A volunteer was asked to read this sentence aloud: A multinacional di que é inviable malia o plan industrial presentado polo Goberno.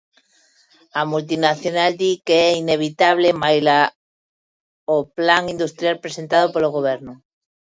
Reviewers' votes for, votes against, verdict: 0, 2, rejected